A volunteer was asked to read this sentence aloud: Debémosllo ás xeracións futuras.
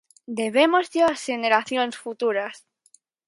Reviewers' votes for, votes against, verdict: 0, 4, rejected